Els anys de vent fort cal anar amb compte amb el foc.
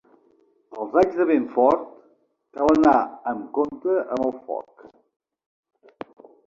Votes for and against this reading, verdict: 2, 0, accepted